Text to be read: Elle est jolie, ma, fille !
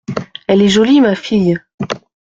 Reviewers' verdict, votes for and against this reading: accepted, 2, 0